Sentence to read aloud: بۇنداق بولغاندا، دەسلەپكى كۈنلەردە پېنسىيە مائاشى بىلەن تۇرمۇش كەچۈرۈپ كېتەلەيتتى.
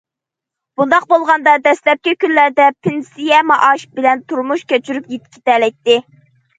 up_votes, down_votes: 1, 2